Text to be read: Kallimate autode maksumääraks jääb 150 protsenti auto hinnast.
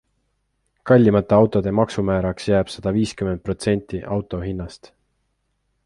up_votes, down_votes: 0, 2